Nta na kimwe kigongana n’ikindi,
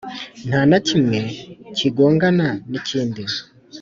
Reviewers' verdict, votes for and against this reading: accepted, 2, 0